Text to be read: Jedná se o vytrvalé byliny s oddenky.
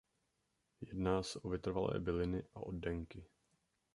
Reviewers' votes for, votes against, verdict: 0, 2, rejected